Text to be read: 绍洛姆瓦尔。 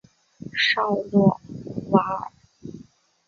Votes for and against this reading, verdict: 2, 2, rejected